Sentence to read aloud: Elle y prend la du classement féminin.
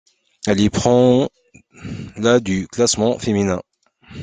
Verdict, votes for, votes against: accepted, 2, 0